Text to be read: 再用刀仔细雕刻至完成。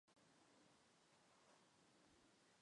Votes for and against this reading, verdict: 1, 3, rejected